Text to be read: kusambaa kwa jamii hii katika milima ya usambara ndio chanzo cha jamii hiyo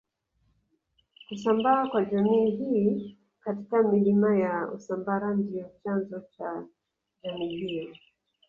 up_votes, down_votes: 0, 2